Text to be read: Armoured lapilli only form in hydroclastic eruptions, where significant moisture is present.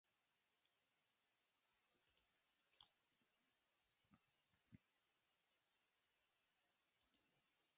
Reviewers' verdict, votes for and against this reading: rejected, 0, 2